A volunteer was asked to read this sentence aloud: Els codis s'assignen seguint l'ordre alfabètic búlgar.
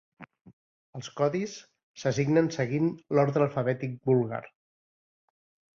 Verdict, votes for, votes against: accepted, 2, 0